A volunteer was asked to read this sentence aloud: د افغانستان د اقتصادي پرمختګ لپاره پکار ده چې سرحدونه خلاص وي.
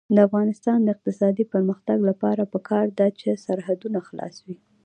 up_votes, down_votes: 2, 0